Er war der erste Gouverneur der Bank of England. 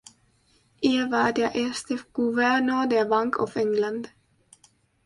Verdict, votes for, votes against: rejected, 1, 2